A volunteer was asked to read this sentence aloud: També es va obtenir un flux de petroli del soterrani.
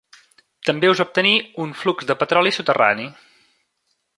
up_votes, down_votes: 0, 2